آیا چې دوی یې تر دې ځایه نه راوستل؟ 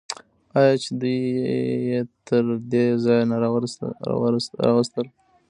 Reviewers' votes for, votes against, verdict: 1, 2, rejected